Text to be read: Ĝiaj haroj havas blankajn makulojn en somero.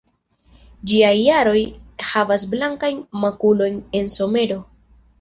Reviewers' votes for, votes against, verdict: 1, 2, rejected